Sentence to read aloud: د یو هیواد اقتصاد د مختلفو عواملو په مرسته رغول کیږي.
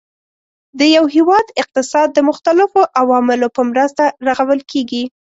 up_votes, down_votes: 2, 0